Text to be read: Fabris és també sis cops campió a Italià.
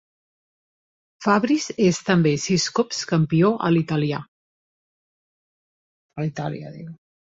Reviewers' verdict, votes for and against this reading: rejected, 0, 2